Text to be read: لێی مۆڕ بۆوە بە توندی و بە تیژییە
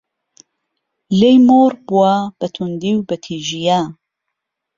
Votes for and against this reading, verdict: 1, 2, rejected